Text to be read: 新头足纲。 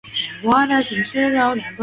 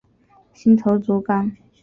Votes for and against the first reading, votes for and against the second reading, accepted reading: 0, 2, 2, 0, second